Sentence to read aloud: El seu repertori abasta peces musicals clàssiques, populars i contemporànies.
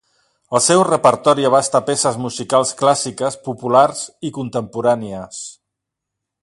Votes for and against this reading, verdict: 2, 0, accepted